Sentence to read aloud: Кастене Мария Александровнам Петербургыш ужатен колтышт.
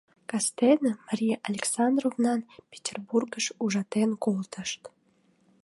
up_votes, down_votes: 2, 0